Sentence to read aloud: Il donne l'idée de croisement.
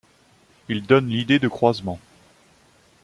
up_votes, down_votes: 2, 0